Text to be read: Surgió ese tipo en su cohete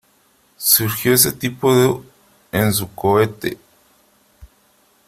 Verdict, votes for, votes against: rejected, 1, 4